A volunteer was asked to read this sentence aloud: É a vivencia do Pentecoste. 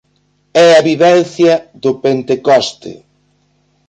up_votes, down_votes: 0, 2